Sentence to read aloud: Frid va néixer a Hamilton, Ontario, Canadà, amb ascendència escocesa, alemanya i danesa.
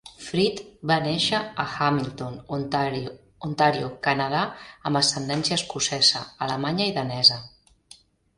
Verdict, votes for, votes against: rejected, 0, 3